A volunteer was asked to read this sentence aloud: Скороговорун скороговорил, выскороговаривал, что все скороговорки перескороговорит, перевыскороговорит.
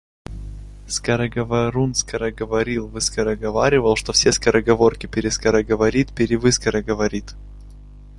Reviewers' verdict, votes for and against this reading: accepted, 2, 0